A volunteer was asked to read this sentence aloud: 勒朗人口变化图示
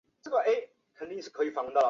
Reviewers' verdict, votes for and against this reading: accepted, 2, 0